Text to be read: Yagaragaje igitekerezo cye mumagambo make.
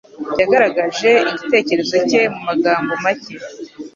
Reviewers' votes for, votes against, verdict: 2, 1, accepted